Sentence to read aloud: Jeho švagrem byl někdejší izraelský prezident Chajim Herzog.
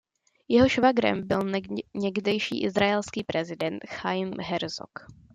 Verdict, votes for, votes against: accepted, 2, 1